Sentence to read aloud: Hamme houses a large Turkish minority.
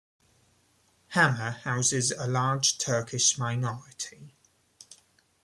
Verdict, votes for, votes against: accepted, 2, 0